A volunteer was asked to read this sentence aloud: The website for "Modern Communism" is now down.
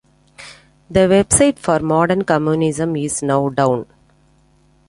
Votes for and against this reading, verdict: 2, 0, accepted